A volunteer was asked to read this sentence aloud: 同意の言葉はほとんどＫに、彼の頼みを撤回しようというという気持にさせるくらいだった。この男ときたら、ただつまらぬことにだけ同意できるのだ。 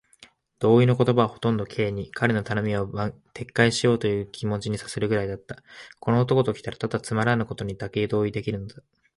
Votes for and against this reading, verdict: 2, 1, accepted